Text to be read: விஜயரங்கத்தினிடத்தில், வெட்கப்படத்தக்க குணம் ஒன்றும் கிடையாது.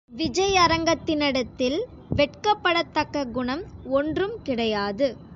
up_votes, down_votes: 2, 0